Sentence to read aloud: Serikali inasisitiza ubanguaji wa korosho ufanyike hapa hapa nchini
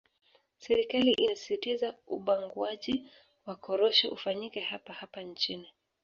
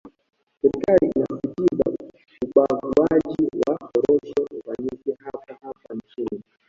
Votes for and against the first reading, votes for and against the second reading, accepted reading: 2, 0, 1, 2, first